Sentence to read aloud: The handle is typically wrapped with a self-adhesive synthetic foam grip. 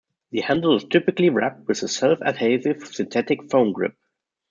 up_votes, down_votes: 2, 0